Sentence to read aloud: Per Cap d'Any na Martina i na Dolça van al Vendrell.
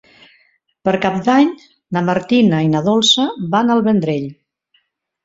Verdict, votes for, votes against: accepted, 3, 0